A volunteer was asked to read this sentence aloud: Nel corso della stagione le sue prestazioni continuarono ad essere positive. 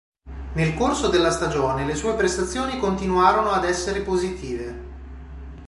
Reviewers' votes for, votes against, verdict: 2, 0, accepted